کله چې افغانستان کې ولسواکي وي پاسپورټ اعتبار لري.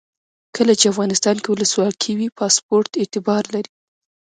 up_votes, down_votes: 1, 2